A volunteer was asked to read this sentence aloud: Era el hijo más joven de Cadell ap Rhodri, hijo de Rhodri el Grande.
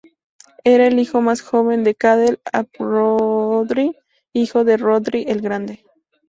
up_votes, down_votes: 4, 0